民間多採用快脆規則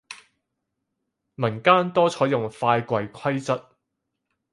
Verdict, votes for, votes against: rejected, 2, 6